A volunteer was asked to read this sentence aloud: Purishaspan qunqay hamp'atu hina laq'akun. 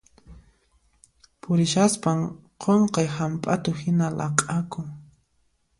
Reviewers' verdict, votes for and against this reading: accepted, 2, 0